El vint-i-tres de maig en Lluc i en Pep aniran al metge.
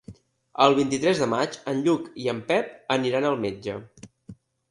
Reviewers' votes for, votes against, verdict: 3, 0, accepted